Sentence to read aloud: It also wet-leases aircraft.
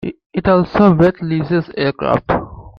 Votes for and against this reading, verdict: 1, 2, rejected